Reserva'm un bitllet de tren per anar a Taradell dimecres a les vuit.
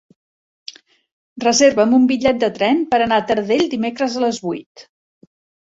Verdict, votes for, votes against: accepted, 3, 0